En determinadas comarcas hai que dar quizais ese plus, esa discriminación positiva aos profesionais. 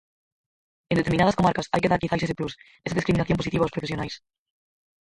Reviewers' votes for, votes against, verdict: 0, 4, rejected